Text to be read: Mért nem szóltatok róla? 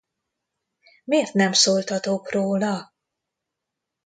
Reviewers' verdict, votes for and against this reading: rejected, 0, 2